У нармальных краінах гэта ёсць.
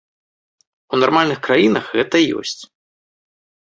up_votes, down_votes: 1, 2